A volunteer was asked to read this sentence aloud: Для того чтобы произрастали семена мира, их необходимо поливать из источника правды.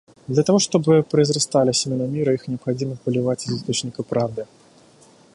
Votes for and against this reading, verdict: 1, 2, rejected